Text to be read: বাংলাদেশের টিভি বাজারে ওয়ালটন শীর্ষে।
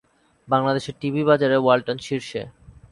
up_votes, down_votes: 2, 0